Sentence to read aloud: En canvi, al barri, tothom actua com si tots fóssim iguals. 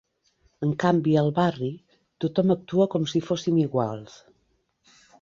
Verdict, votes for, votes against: rejected, 0, 2